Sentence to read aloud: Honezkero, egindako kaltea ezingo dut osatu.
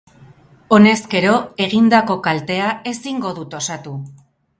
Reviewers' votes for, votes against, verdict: 0, 2, rejected